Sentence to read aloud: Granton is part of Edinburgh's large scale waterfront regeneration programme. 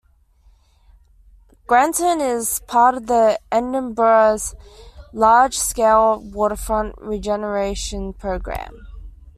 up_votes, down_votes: 2, 1